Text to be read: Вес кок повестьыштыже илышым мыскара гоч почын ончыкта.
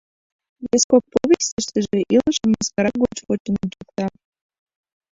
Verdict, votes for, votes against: rejected, 1, 2